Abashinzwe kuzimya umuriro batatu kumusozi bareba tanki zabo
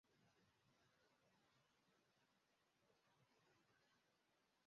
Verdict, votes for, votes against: rejected, 0, 2